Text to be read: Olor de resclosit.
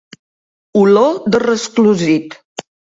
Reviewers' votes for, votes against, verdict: 3, 0, accepted